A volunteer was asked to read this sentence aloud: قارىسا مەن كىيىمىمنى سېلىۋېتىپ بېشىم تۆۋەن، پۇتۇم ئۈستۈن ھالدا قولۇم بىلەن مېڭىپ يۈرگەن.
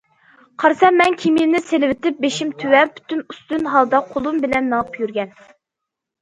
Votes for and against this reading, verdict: 0, 2, rejected